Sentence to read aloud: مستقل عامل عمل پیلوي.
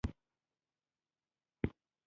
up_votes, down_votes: 1, 2